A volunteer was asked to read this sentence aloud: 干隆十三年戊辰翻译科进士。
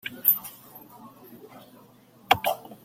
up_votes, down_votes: 0, 2